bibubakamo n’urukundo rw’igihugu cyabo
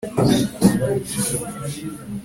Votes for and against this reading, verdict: 1, 2, rejected